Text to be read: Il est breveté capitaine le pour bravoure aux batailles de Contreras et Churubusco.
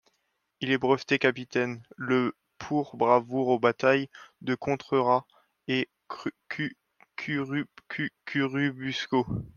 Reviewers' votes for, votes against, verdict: 0, 2, rejected